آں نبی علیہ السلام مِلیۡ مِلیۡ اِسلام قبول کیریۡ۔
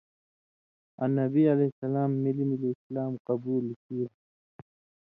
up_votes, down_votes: 2, 0